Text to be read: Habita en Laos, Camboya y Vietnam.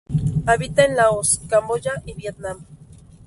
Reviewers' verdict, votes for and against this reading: rejected, 2, 2